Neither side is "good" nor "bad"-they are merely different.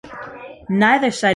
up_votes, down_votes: 0, 2